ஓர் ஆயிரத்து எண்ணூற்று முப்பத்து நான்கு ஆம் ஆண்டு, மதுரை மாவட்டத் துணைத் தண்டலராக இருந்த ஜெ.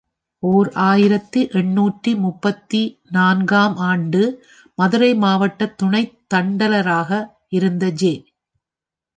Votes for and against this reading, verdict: 1, 2, rejected